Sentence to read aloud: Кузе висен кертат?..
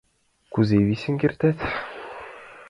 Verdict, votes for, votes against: accepted, 2, 0